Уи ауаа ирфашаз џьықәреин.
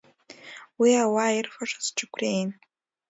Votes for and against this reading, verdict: 2, 0, accepted